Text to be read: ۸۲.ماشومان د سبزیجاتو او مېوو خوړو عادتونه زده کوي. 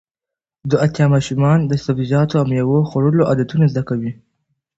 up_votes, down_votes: 0, 2